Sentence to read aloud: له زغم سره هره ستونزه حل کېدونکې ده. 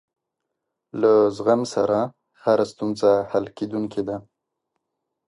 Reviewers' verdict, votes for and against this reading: accepted, 2, 0